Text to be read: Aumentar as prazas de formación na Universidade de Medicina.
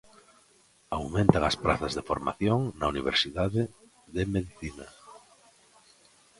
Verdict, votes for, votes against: rejected, 0, 2